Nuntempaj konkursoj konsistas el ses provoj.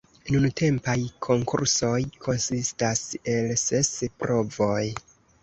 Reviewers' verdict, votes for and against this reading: accepted, 2, 1